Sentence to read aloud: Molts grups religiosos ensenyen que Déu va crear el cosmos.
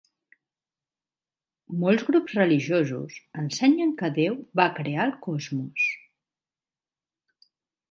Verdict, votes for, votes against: accepted, 12, 4